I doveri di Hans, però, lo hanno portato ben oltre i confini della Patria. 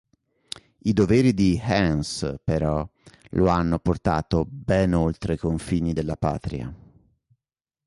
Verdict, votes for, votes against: accepted, 2, 1